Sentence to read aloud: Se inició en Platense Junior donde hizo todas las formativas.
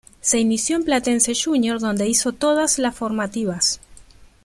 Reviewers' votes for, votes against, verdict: 2, 0, accepted